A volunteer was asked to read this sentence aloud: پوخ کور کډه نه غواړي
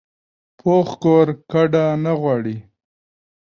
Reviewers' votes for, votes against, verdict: 0, 2, rejected